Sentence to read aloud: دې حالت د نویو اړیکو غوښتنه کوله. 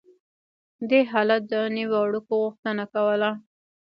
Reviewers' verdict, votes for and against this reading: rejected, 0, 2